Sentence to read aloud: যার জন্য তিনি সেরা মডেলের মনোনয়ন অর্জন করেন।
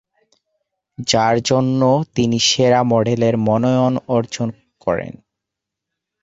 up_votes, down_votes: 0, 2